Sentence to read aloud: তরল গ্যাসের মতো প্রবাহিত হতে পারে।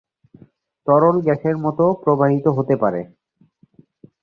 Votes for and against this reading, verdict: 1, 2, rejected